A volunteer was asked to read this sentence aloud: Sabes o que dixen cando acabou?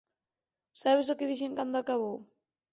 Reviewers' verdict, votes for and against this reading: accepted, 4, 0